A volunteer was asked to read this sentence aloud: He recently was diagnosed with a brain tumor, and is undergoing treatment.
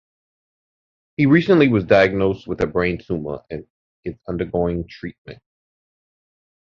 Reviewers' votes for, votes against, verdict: 2, 0, accepted